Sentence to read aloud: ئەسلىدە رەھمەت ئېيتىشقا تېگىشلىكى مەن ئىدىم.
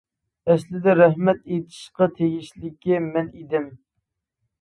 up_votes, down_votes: 2, 0